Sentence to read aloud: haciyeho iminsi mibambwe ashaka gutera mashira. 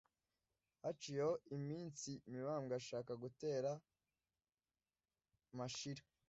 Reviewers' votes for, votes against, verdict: 2, 0, accepted